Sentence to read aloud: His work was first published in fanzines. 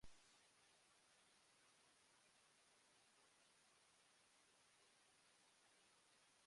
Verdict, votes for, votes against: rejected, 0, 2